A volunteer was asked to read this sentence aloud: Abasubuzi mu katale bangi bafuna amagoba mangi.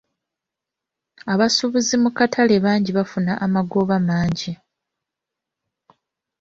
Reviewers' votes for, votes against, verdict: 2, 1, accepted